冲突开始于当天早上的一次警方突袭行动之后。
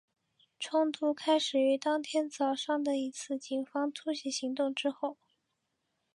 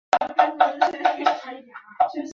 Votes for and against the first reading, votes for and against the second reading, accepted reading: 2, 0, 1, 3, first